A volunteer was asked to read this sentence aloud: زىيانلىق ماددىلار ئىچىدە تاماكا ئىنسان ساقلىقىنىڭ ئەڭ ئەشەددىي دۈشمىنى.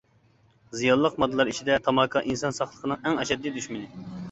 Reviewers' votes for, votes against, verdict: 2, 0, accepted